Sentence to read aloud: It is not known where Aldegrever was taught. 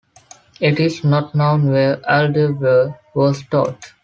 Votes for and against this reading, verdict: 2, 1, accepted